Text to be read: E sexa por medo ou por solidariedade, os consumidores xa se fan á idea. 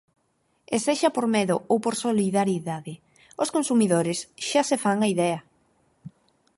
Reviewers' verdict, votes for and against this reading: rejected, 2, 4